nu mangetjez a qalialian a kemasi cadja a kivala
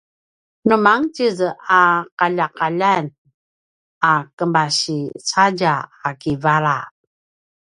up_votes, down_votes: 0, 2